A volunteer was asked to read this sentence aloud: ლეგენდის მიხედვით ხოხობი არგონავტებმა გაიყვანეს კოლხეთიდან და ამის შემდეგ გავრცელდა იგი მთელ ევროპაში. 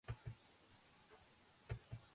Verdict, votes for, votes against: rejected, 1, 2